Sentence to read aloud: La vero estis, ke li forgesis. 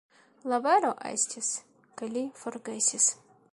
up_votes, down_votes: 2, 3